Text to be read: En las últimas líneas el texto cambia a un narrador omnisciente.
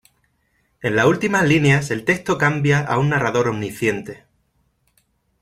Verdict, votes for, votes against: rejected, 1, 2